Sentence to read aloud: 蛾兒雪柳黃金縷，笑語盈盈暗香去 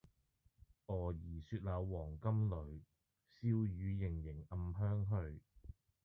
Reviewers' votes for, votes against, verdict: 0, 2, rejected